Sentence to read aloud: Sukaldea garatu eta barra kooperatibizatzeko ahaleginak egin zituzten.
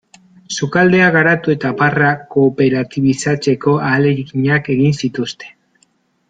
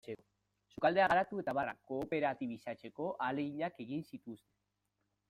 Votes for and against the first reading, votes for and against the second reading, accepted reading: 2, 0, 1, 2, first